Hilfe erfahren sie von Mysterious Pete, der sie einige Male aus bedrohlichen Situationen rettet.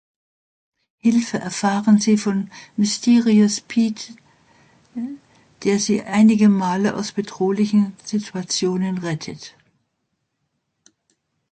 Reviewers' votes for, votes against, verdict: 2, 0, accepted